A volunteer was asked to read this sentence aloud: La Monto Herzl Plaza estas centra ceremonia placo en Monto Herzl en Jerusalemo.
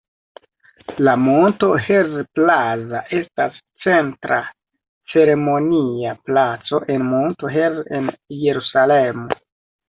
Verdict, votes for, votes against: rejected, 0, 2